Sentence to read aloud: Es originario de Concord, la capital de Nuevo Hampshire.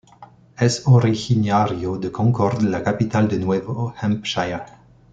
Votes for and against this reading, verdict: 2, 0, accepted